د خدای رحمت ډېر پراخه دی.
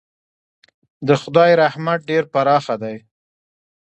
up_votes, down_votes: 2, 1